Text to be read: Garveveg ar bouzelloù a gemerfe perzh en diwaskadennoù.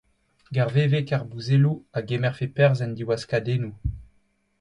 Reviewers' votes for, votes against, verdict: 2, 0, accepted